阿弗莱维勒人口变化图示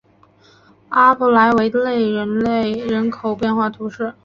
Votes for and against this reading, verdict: 2, 2, rejected